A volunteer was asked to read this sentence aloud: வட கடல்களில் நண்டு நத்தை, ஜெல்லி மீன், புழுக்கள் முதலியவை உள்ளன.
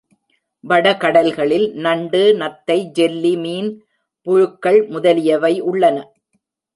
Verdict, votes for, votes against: accepted, 2, 1